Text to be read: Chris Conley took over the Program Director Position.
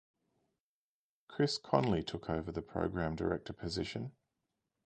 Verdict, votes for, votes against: accepted, 2, 0